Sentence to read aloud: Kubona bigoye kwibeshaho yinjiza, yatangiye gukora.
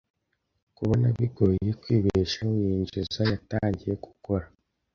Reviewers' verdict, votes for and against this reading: accepted, 2, 0